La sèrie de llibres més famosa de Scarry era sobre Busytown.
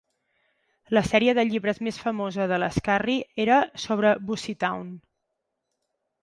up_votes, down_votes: 2, 4